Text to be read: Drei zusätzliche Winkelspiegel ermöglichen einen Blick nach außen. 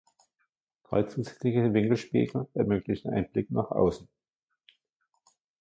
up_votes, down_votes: 1, 2